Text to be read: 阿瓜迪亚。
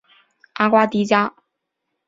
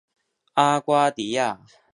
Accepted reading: second